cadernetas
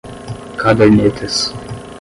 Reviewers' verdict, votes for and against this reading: rejected, 5, 5